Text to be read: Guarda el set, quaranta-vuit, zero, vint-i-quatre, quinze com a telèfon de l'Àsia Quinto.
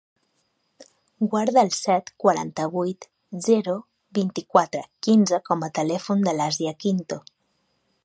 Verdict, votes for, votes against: accepted, 9, 0